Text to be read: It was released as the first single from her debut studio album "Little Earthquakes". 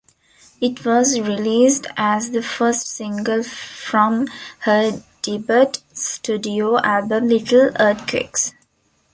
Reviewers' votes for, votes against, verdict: 0, 2, rejected